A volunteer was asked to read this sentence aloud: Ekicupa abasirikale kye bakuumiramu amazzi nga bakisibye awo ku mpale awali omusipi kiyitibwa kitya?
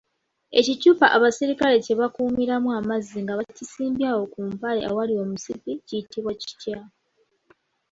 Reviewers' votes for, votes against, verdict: 2, 1, accepted